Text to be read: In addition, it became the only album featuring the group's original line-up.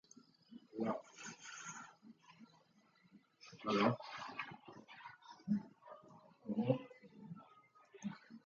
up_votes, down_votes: 0, 2